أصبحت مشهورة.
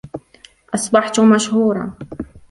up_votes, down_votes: 2, 1